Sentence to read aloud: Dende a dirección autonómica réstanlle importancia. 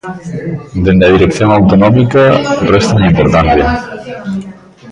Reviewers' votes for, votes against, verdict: 0, 3, rejected